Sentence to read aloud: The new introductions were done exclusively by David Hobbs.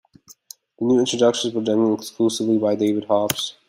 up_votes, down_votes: 0, 2